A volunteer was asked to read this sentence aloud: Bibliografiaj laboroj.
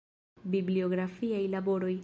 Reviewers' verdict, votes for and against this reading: rejected, 0, 2